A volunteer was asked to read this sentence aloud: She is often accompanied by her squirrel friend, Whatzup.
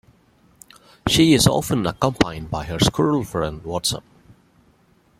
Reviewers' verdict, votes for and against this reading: rejected, 1, 2